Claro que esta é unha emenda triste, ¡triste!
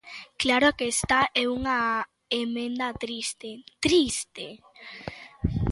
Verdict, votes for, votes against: rejected, 1, 2